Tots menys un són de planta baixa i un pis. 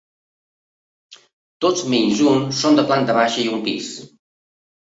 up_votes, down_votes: 2, 0